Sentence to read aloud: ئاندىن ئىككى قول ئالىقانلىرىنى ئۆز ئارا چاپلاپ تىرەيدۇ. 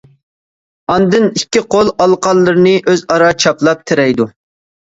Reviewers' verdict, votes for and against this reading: accepted, 2, 0